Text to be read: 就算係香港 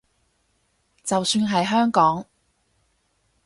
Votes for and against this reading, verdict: 4, 0, accepted